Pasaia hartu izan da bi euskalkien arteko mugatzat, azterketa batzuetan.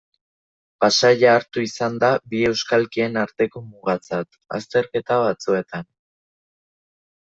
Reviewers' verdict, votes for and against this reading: accepted, 2, 0